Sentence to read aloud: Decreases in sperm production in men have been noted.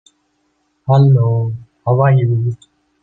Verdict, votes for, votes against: rejected, 0, 2